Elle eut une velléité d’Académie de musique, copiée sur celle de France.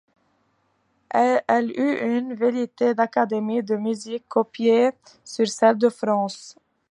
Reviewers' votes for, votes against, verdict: 1, 2, rejected